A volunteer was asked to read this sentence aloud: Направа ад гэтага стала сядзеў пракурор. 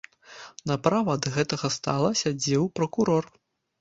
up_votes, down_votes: 0, 2